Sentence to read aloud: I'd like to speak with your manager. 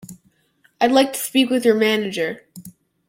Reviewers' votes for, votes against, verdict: 2, 0, accepted